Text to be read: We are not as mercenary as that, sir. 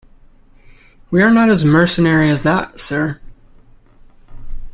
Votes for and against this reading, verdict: 2, 0, accepted